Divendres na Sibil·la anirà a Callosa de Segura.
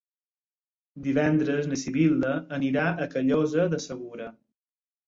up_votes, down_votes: 6, 0